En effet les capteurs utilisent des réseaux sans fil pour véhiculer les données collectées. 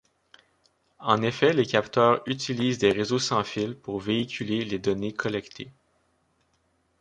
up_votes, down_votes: 2, 0